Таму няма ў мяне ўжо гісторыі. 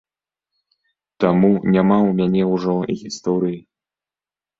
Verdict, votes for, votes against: accepted, 2, 0